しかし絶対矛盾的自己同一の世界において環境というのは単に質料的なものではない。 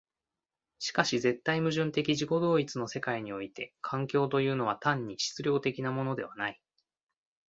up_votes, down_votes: 2, 0